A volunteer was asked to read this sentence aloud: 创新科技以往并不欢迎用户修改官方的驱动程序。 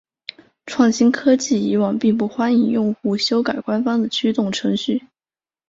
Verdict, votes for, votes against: accepted, 4, 0